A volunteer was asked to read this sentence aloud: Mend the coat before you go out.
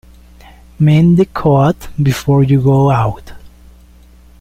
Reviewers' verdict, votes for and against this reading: accepted, 2, 0